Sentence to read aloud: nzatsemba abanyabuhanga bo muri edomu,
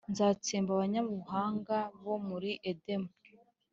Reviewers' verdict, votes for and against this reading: accepted, 2, 0